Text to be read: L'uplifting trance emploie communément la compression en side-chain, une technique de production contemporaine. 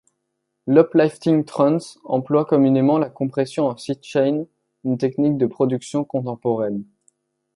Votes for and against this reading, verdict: 0, 2, rejected